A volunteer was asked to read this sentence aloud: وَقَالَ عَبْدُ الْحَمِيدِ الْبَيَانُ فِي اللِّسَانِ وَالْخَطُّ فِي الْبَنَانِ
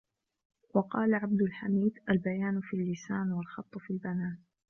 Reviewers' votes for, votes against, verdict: 2, 1, accepted